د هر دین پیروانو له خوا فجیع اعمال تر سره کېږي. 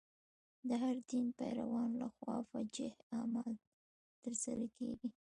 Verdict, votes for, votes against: rejected, 0, 2